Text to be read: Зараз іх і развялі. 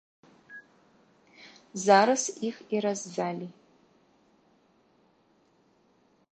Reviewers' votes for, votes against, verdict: 1, 2, rejected